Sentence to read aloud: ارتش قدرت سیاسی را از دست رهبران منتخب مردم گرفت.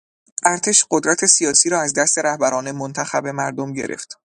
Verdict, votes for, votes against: accepted, 2, 0